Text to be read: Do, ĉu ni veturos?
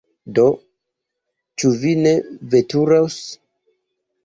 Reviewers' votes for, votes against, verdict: 2, 0, accepted